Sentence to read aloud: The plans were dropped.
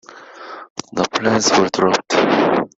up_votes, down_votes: 0, 2